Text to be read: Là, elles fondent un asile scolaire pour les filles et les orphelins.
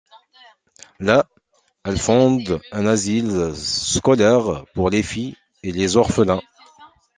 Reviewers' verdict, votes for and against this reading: accepted, 2, 0